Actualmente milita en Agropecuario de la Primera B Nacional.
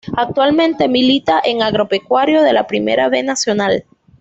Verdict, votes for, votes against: accepted, 2, 0